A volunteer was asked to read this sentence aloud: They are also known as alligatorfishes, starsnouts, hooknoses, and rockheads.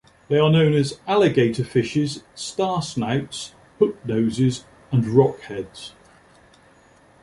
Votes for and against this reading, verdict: 1, 2, rejected